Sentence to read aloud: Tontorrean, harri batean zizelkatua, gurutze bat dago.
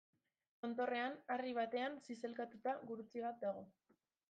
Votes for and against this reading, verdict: 0, 2, rejected